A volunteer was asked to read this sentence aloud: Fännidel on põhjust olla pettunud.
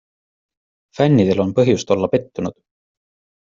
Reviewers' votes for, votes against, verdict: 2, 0, accepted